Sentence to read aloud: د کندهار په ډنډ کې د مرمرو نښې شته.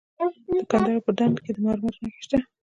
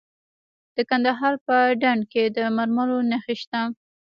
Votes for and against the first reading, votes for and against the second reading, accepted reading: 2, 0, 1, 2, first